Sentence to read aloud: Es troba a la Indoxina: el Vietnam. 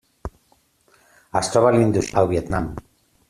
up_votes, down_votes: 0, 2